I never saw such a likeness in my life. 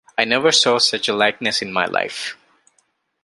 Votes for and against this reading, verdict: 3, 0, accepted